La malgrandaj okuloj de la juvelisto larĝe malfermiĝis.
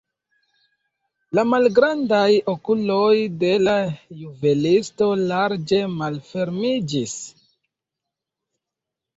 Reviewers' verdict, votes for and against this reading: accepted, 2, 1